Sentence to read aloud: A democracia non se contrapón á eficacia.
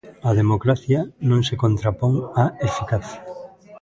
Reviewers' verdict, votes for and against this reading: rejected, 0, 2